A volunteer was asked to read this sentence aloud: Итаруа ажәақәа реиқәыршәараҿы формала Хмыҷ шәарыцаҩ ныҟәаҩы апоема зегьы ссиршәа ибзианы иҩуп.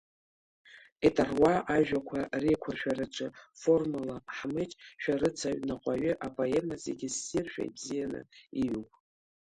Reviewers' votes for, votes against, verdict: 1, 2, rejected